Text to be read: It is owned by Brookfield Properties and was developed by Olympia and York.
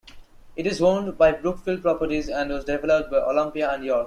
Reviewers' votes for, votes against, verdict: 1, 2, rejected